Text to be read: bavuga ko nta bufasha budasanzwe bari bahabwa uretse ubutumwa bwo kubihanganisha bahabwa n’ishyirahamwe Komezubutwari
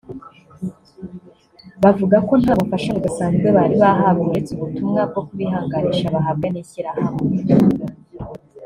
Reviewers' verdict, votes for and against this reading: rejected, 1, 2